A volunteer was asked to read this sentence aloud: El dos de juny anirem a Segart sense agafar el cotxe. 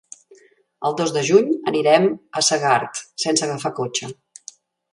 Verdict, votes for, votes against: rejected, 0, 2